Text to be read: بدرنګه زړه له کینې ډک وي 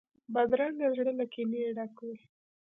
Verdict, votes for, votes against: rejected, 1, 2